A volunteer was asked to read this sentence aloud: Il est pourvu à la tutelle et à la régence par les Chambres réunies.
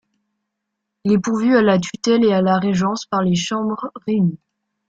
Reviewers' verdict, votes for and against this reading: rejected, 1, 2